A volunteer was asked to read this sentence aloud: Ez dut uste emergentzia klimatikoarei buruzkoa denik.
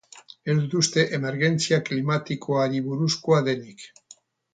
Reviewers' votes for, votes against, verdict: 0, 2, rejected